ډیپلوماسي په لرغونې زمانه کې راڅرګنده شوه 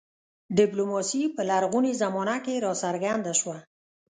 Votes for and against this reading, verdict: 1, 2, rejected